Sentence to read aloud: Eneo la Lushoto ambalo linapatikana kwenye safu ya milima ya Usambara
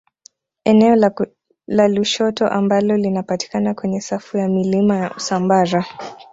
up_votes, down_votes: 0, 2